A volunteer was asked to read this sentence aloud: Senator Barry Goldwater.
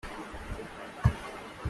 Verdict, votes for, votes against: rejected, 0, 2